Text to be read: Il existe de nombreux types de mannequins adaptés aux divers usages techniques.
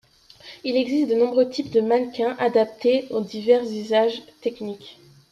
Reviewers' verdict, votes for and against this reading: accepted, 2, 0